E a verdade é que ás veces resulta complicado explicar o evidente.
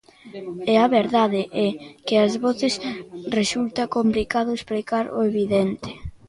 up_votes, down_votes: 0, 2